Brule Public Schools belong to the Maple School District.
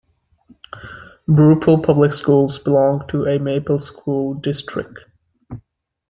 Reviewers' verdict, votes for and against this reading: rejected, 0, 2